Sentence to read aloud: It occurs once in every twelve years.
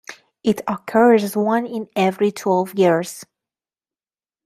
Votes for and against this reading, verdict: 0, 2, rejected